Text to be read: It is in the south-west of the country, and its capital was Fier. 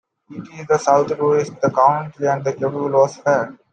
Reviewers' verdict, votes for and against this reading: accepted, 2, 1